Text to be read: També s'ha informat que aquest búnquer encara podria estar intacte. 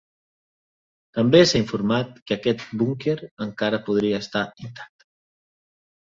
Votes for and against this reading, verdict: 0, 2, rejected